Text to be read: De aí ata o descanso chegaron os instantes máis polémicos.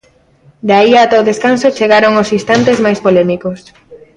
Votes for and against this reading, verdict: 2, 0, accepted